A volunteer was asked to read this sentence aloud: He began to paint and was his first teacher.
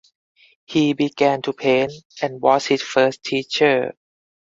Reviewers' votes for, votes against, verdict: 4, 0, accepted